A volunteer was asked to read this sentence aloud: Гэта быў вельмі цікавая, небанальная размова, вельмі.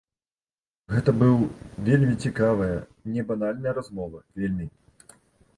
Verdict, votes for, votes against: accepted, 2, 1